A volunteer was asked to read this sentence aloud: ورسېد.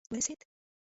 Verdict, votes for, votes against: rejected, 0, 2